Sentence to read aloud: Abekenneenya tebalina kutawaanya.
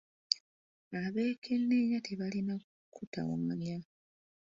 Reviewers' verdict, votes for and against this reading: rejected, 1, 2